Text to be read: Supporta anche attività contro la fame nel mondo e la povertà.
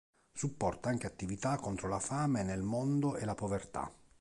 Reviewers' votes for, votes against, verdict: 3, 0, accepted